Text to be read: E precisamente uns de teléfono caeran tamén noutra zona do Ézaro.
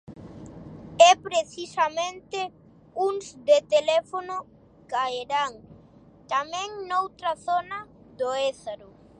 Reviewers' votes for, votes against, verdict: 0, 2, rejected